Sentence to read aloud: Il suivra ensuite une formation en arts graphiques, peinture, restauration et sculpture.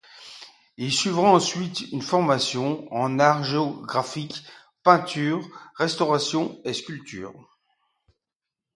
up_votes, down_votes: 1, 2